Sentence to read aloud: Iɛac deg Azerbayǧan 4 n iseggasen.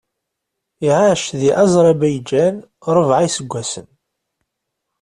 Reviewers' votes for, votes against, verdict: 0, 2, rejected